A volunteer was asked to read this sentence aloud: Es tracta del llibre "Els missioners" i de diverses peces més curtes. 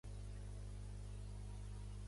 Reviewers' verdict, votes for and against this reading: rejected, 0, 2